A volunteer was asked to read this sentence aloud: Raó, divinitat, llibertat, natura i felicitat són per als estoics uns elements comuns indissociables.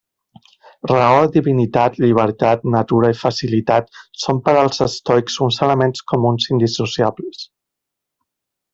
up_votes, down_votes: 0, 2